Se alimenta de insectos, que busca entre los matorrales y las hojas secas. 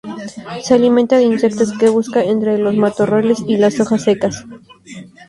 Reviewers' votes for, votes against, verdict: 2, 0, accepted